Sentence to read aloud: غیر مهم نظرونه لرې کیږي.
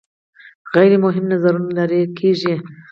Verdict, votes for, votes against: accepted, 4, 0